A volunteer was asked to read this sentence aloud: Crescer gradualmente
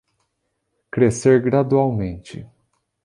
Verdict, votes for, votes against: accepted, 2, 0